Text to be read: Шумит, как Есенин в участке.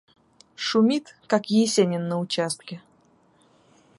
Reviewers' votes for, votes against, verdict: 0, 2, rejected